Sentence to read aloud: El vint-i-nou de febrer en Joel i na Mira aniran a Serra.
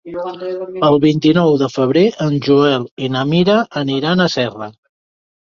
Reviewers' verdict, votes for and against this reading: rejected, 1, 3